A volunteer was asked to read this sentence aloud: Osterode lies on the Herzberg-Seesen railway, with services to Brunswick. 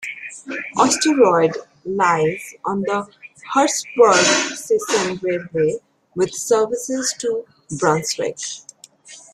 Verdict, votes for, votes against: rejected, 1, 2